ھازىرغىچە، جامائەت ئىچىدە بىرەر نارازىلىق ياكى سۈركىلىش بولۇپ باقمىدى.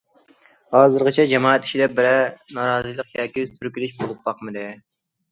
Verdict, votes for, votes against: accepted, 2, 0